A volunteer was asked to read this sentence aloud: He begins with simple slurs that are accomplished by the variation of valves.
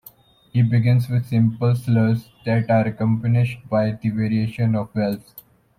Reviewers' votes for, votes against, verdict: 1, 2, rejected